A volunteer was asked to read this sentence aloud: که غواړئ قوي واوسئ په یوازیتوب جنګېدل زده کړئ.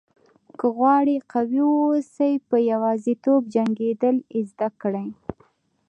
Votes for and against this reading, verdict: 0, 2, rejected